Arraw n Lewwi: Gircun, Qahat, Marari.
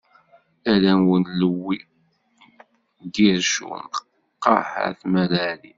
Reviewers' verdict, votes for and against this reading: rejected, 1, 2